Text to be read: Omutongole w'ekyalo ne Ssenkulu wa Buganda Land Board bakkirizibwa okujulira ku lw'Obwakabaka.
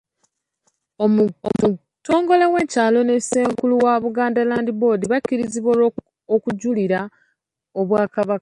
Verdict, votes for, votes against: rejected, 1, 2